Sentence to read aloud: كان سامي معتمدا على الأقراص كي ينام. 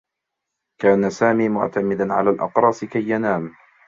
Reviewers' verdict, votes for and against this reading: accepted, 2, 1